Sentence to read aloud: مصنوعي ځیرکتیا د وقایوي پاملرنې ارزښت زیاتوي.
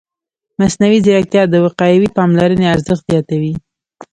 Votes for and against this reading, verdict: 2, 0, accepted